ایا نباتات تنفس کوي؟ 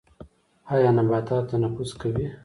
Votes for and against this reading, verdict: 2, 0, accepted